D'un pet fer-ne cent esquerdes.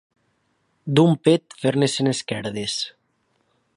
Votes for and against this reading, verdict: 2, 0, accepted